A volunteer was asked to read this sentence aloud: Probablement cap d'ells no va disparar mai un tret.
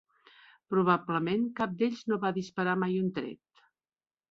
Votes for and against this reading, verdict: 3, 0, accepted